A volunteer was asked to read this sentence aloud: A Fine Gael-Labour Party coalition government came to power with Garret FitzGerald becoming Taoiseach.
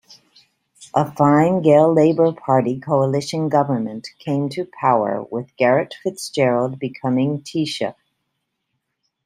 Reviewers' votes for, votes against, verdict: 2, 1, accepted